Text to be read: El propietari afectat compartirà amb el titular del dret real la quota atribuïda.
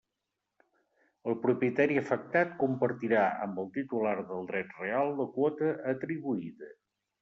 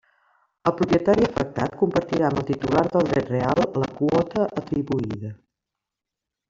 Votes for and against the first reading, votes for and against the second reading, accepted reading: 3, 0, 0, 2, first